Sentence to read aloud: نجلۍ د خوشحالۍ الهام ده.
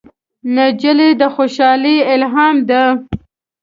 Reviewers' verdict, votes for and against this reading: accepted, 2, 0